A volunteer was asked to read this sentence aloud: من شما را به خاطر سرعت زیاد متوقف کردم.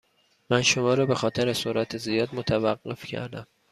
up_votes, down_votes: 2, 0